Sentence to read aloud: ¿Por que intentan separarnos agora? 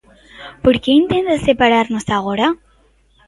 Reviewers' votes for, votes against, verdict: 2, 0, accepted